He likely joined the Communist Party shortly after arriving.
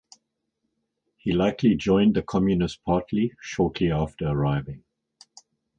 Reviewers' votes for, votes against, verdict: 2, 2, rejected